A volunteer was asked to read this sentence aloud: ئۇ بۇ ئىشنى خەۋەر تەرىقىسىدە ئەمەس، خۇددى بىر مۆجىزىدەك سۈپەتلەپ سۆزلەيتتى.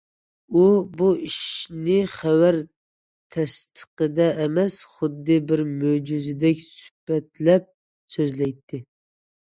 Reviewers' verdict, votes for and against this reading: rejected, 0, 2